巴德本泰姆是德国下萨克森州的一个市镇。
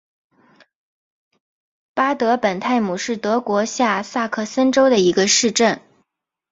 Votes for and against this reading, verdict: 2, 1, accepted